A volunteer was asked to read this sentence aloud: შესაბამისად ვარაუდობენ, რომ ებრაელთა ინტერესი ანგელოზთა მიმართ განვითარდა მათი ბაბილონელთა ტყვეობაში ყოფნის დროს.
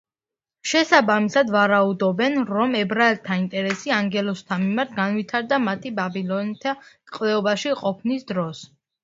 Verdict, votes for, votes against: rejected, 0, 2